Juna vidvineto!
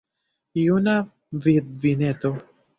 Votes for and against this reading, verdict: 2, 0, accepted